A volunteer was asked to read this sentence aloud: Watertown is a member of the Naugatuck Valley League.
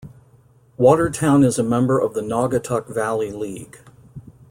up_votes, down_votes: 2, 0